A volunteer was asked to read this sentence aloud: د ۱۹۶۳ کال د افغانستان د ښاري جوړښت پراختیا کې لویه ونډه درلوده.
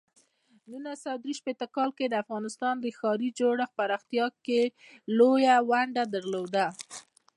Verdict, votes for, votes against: rejected, 0, 2